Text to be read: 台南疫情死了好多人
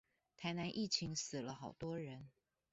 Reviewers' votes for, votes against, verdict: 1, 2, rejected